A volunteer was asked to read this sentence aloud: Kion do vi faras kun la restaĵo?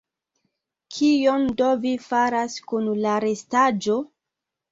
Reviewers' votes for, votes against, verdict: 3, 1, accepted